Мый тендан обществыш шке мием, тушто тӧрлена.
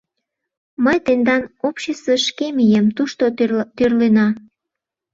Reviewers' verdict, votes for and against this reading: rejected, 0, 2